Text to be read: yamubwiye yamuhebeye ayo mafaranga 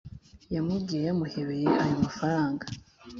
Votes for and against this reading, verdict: 3, 0, accepted